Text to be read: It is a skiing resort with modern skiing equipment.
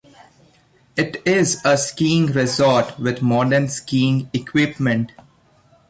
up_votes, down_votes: 2, 0